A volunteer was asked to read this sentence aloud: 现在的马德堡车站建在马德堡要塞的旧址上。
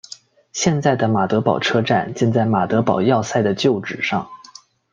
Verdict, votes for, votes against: accepted, 2, 0